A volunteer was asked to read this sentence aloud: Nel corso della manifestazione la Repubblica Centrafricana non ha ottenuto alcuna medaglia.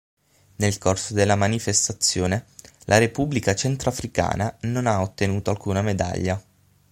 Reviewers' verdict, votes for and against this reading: accepted, 6, 0